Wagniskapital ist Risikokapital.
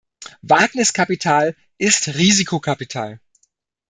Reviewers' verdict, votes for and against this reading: accepted, 2, 0